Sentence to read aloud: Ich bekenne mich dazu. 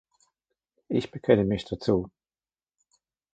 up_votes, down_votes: 2, 0